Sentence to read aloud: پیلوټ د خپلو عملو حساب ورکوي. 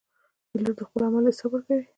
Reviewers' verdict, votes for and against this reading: rejected, 1, 2